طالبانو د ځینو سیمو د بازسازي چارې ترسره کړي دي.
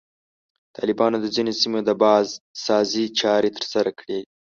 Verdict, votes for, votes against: rejected, 1, 2